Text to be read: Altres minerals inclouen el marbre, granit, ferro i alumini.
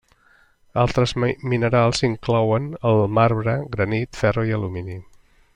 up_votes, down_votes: 0, 2